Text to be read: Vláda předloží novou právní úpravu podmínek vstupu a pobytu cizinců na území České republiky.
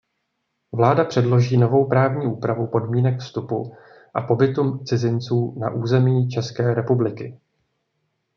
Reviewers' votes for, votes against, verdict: 1, 2, rejected